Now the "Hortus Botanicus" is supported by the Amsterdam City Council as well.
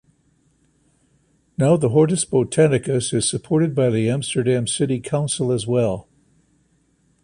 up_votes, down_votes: 2, 0